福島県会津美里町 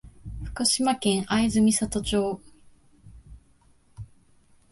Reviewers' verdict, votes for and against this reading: accepted, 2, 0